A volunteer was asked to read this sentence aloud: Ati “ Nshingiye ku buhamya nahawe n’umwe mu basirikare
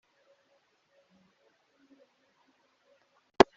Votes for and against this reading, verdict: 0, 2, rejected